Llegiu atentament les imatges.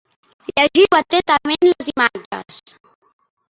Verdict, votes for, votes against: rejected, 0, 2